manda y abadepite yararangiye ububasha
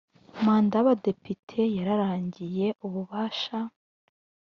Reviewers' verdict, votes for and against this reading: accepted, 2, 0